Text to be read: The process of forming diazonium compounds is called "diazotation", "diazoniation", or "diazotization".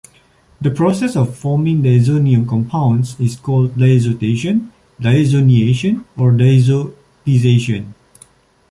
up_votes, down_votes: 3, 1